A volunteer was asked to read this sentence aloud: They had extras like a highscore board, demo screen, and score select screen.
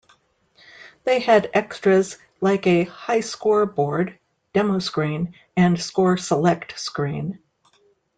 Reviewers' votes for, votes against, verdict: 2, 0, accepted